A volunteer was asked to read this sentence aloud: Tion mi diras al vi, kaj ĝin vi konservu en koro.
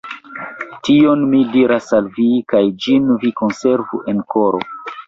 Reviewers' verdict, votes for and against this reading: accepted, 2, 1